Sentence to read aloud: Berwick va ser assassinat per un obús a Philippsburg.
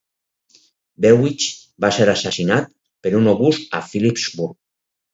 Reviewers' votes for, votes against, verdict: 2, 2, rejected